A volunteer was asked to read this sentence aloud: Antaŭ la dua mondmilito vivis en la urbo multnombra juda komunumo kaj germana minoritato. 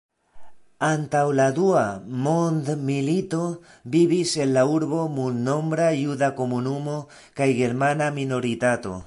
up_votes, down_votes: 3, 0